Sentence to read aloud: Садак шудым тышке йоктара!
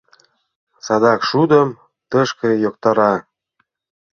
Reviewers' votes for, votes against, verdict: 2, 0, accepted